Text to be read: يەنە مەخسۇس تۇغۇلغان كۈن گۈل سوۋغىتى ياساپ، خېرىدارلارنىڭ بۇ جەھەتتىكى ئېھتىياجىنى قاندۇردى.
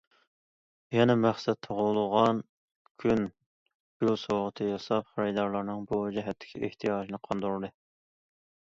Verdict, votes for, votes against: rejected, 0, 2